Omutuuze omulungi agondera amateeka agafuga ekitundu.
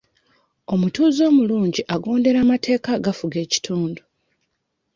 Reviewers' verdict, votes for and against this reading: accepted, 2, 0